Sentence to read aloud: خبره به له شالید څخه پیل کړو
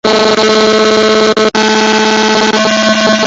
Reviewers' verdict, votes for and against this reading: rejected, 0, 2